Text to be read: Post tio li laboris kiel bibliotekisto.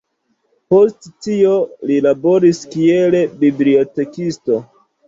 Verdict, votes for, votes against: accepted, 2, 0